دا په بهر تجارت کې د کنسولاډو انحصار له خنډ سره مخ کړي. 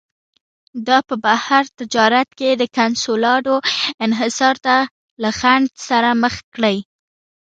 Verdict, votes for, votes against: rejected, 1, 2